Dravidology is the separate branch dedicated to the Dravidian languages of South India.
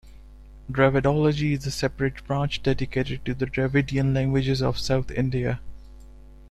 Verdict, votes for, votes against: accepted, 2, 0